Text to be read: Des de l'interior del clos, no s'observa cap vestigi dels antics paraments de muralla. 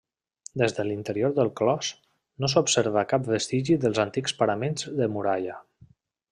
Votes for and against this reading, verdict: 3, 0, accepted